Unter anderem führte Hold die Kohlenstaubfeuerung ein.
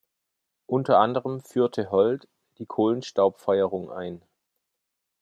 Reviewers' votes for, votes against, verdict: 2, 0, accepted